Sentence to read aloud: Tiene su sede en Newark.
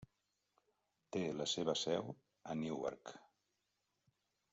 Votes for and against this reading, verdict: 1, 2, rejected